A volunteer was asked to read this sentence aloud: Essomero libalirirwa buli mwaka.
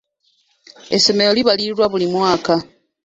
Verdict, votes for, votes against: accepted, 2, 0